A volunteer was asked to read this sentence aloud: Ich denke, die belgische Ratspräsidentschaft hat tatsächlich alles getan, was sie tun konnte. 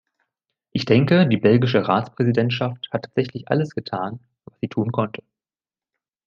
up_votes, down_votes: 2, 0